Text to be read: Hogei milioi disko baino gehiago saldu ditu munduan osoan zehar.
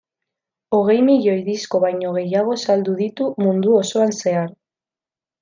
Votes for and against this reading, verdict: 0, 2, rejected